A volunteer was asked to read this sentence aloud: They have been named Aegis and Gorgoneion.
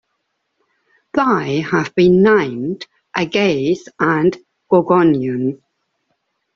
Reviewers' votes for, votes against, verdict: 0, 2, rejected